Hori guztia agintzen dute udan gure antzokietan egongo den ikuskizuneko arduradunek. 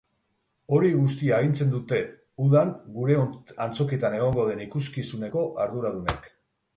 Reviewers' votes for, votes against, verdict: 2, 2, rejected